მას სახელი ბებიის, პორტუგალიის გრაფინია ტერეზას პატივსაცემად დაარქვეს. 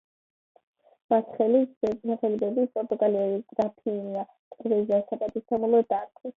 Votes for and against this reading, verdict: 2, 0, accepted